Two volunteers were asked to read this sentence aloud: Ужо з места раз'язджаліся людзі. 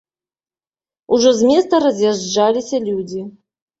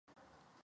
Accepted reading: first